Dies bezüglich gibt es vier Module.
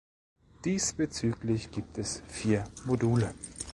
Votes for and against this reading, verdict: 1, 2, rejected